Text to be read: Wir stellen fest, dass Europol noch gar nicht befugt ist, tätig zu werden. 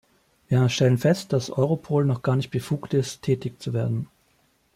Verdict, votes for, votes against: rejected, 1, 2